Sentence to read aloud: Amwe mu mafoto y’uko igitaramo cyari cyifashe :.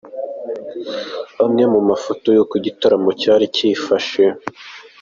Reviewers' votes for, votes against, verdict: 2, 0, accepted